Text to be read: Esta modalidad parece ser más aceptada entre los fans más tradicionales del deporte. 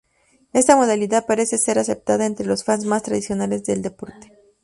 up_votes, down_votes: 0, 2